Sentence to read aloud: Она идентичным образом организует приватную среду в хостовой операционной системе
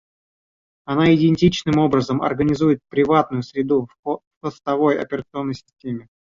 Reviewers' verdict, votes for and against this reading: rejected, 1, 2